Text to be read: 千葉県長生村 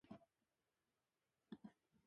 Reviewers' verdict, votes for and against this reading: rejected, 9, 33